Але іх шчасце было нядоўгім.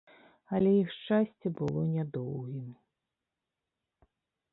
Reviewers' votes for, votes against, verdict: 2, 1, accepted